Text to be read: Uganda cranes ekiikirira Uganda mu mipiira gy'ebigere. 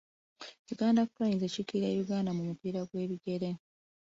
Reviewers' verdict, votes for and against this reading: rejected, 1, 2